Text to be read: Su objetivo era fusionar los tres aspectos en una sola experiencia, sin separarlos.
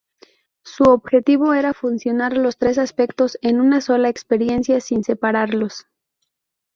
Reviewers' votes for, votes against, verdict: 0, 2, rejected